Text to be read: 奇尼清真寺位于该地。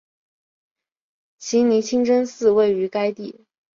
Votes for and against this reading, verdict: 3, 0, accepted